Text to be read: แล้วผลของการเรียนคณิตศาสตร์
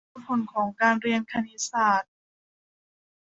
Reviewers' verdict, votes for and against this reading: rejected, 0, 2